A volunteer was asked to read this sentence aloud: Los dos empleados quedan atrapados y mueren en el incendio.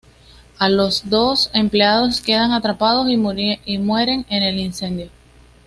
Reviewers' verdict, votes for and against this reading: rejected, 1, 2